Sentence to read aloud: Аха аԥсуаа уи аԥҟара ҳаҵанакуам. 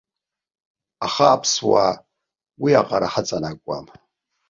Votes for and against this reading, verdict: 0, 2, rejected